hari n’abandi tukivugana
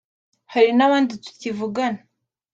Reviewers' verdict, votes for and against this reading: accepted, 2, 0